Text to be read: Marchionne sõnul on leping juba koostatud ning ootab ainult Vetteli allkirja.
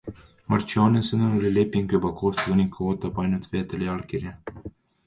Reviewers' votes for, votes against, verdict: 2, 3, rejected